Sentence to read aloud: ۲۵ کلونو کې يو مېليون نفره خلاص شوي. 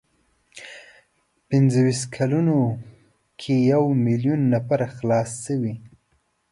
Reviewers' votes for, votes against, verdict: 0, 2, rejected